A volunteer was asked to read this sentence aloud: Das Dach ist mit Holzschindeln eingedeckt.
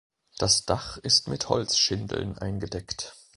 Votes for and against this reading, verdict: 2, 0, accepted